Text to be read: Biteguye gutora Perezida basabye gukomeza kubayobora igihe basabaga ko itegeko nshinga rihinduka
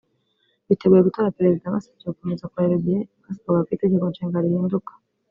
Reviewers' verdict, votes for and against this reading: accepted, 2, 0